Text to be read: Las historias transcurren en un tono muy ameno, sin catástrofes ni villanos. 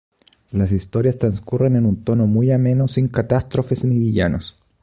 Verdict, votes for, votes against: accepted, 2, 0